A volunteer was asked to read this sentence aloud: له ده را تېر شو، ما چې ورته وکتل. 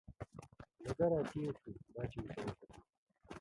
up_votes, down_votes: 1, 2